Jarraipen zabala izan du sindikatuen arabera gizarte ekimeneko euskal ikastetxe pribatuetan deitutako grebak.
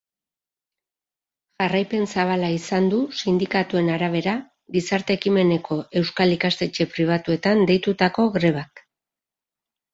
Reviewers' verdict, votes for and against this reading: accepted, 2, 1